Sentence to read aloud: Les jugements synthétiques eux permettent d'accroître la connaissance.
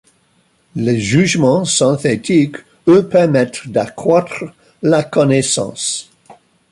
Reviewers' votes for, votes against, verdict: 2, 0, accepted